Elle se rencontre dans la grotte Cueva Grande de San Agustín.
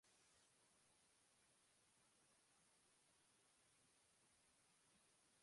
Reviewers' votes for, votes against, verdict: 1, 2, rejected